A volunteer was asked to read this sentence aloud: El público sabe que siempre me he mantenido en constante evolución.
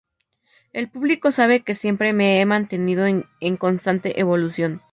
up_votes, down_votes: 0, 2